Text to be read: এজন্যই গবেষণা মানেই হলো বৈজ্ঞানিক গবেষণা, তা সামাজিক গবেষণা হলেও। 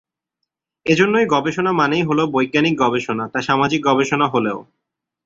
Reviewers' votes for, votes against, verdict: 2, 0, accepted